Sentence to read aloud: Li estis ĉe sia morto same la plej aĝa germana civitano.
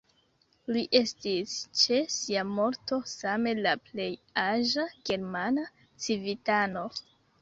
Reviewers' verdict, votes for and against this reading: accepted, 2, 1